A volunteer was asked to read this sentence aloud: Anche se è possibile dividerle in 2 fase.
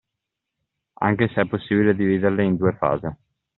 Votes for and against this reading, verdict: 0, 2, rejected